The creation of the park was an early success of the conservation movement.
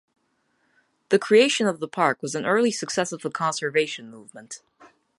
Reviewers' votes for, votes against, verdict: 2, 0, accepted